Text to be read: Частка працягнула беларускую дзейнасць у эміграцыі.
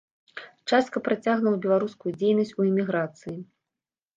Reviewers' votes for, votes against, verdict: 1, 2, rejected